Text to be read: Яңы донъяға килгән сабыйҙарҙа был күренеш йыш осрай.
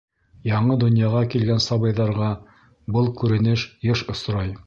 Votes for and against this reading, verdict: 2, 0, accepted